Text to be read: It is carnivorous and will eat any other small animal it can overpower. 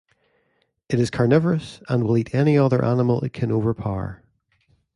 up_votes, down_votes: 1, 2